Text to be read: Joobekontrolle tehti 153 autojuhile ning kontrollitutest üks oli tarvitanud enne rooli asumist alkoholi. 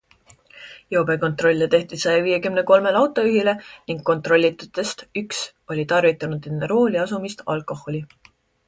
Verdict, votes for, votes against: rejected, 0, 2